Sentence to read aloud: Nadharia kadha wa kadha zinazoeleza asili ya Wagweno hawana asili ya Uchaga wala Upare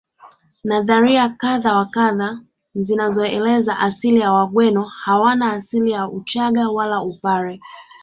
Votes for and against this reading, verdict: 4, 0, accepted